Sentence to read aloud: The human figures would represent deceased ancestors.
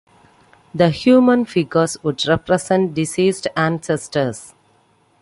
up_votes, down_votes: 2, 1